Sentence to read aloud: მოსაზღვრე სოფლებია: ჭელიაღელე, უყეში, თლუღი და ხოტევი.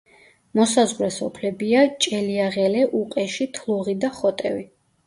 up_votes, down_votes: 2, 0